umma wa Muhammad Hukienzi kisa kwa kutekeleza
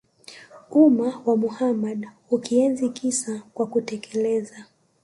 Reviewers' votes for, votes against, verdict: 2, 0, accepted